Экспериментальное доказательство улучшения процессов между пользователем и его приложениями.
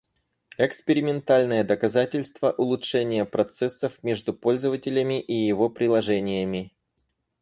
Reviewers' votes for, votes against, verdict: 0, 4, rejected